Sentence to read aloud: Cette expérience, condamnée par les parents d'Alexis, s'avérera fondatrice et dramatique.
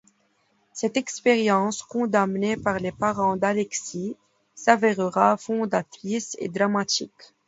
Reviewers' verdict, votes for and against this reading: accepted, 2, 1